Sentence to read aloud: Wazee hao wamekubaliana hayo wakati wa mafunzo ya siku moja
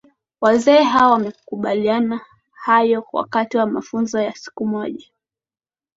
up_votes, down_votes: 2, 0